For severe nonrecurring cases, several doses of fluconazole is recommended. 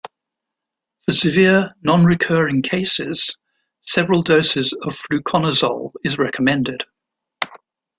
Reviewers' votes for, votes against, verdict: 2, 0, accepted